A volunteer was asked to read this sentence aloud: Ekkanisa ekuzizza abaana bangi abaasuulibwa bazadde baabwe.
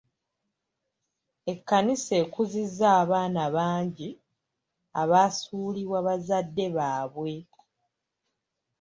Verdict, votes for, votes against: accepted, 2, 0